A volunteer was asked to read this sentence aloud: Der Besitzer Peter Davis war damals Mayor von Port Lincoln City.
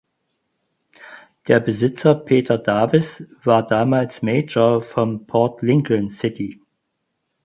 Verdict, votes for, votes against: rejected, 2, 4